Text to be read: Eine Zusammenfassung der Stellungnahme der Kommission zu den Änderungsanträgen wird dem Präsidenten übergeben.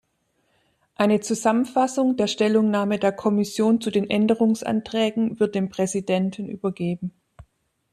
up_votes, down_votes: 2, 1